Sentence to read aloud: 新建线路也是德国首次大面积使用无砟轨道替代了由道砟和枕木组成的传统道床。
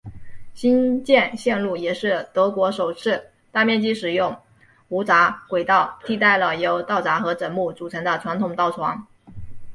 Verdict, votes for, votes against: accepted, 3, 0